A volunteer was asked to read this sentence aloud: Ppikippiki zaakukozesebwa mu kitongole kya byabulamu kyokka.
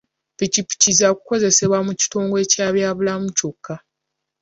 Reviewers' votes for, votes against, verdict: 2, 0, accepted